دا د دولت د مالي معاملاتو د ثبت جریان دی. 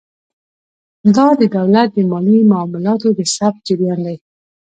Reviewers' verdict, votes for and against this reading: accepted, 2, 0